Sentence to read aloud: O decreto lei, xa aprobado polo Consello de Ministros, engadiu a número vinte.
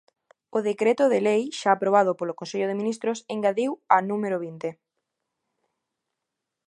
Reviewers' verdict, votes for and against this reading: rejected, 0, 2